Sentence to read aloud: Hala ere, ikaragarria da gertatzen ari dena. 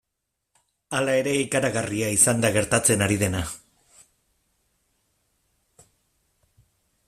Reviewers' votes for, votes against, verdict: 0, 3, rejected